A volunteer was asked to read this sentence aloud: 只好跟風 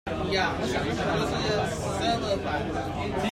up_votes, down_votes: 0, 2